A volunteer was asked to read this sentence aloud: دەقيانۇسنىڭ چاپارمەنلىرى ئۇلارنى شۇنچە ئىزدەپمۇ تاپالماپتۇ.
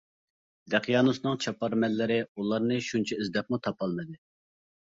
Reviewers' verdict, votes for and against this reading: rejected, 0, 2